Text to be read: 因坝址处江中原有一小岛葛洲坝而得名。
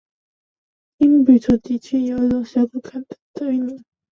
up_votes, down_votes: 1, 2